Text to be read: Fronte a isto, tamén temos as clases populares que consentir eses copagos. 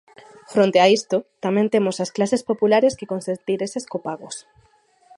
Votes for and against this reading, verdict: 0, 2, rejected